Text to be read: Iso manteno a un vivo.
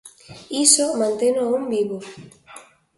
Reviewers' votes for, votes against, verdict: 2, 0, accepted